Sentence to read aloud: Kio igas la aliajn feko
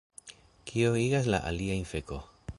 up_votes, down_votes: 2, 1